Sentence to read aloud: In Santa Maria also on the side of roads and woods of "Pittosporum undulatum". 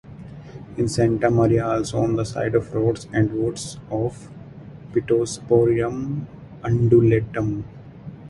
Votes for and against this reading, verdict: 0, 2, rejected